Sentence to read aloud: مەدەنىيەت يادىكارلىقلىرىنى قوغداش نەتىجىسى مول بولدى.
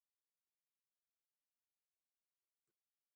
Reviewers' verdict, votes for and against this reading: rejected, 0, 2